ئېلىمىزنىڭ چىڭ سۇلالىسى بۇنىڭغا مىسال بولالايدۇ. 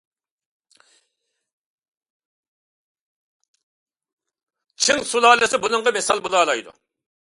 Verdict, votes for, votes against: rejected, 0, 2